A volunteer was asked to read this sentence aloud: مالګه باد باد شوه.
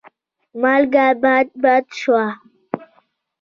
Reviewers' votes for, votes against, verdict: 3, 1, accepted